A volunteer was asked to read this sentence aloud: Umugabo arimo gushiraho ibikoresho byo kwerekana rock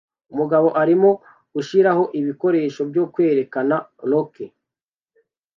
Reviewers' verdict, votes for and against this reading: accepted, 2, 0